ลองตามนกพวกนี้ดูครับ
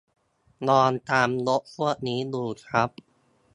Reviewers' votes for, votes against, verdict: 1, 2, rejected